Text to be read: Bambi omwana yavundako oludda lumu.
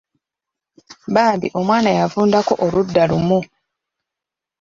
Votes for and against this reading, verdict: 2, 0, accepted